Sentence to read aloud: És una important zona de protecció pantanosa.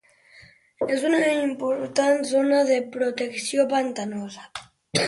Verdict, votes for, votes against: rejected, 0, 2